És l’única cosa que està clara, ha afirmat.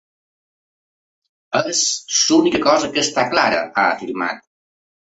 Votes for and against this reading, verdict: 3, 0, accepted